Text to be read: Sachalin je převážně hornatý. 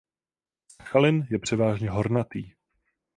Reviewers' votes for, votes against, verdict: 0, 4, rejected